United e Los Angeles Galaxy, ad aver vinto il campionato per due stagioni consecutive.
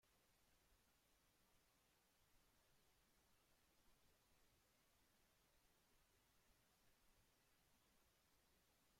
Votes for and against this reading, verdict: 0, 2, rejected